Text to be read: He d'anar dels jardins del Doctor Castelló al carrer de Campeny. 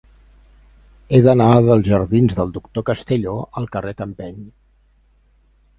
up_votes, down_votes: 0, 2